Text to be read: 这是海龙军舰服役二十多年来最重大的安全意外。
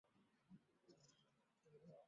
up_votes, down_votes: 0, 3